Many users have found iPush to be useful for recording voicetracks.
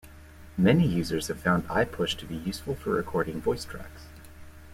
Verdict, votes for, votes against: accepted, 2, 0